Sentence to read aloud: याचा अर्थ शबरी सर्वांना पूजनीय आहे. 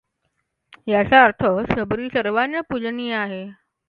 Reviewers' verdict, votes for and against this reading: accepted, 2, 0